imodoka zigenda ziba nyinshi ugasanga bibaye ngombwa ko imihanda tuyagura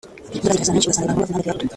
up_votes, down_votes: 0, 2